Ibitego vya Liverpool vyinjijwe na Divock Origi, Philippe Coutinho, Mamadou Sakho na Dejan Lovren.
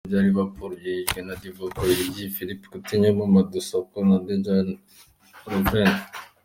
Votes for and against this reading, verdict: 2, 3, rejected